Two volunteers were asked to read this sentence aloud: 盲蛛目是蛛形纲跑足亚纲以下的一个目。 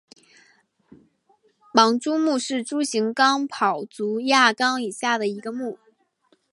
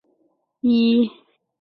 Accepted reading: first